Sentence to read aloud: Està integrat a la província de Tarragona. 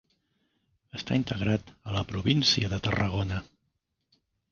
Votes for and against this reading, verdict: 3, 0, accepted